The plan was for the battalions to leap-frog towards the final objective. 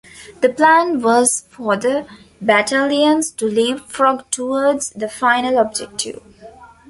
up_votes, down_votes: 2, 0